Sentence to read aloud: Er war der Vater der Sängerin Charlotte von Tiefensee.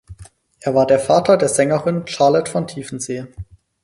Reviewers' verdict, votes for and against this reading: rejected, 2, 4